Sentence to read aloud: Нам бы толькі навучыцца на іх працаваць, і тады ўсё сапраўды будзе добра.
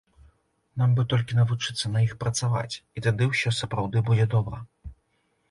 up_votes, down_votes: 2, 0